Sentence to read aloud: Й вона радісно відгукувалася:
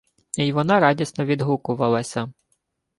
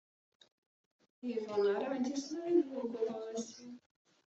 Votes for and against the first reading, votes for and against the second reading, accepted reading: 2, 0, 0, 2, first